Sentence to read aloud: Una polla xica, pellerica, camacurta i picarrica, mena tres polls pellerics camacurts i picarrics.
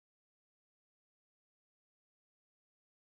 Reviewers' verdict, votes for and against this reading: rejected, 0, 2